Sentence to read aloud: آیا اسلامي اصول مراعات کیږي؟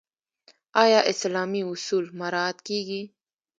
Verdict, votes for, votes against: rejected, 1, 2